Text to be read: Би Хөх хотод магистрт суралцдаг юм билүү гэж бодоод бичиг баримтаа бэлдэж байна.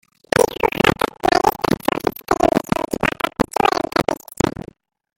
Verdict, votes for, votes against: rejected, 0, 2